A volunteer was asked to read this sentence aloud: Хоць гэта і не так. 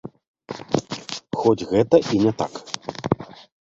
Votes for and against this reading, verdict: 2, 0, accepted